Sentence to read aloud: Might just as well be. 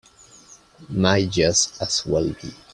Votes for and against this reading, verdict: 3, 0, accepted